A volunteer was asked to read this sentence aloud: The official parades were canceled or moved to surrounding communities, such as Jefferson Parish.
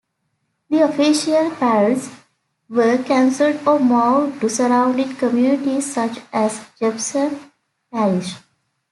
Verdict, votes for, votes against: rejected, 1, 2